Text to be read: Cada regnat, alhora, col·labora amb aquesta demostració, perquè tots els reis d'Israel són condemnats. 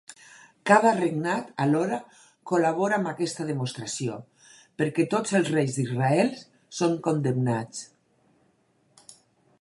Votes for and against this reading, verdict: 0, 2, rejected